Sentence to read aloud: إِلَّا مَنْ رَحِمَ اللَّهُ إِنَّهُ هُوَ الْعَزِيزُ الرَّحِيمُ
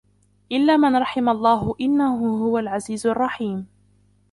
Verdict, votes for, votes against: rejected, 0, 2